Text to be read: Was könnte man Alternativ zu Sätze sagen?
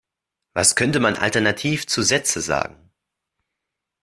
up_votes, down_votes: 1, 2